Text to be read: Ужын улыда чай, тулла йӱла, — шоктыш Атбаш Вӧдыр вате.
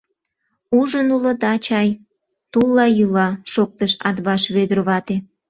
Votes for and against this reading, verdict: 2, 0, accepted